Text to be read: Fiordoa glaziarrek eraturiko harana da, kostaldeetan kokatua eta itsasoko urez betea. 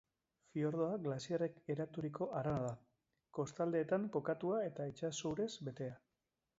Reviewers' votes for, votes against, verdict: 1, 2, rejected